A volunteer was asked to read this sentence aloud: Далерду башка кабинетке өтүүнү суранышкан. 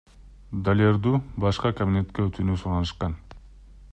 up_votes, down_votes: 2, 0